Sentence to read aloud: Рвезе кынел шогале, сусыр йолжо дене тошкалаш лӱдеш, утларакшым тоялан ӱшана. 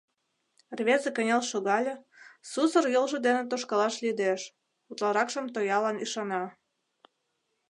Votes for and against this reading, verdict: 2, 0, accepted